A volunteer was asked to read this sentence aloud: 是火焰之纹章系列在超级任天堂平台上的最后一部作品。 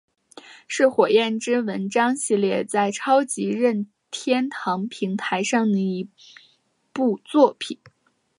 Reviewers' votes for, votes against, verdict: 1, 2, rejected